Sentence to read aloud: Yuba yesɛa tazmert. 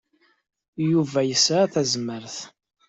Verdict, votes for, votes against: accepted, 2, 0